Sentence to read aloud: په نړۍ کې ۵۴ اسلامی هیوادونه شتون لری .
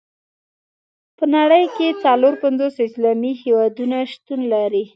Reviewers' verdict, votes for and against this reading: rejected, 0, 2